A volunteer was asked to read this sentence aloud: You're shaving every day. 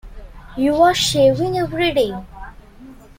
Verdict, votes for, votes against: accepted, 2, 1